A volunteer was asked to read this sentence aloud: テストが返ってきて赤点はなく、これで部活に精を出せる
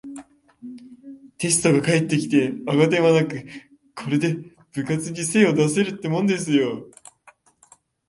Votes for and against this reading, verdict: 0, 2, rejected